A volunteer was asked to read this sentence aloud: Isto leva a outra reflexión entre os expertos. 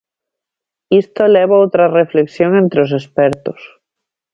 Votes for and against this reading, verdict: 1, 7, rejected